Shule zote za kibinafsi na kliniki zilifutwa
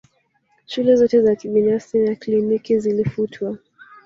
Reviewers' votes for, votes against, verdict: 2, 3, rejected